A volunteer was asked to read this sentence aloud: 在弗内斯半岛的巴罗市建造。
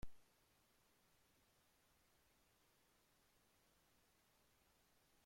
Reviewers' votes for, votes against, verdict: 0, 2, rejected